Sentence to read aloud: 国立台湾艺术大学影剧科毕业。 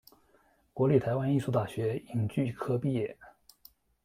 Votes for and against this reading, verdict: 2, 0, accepted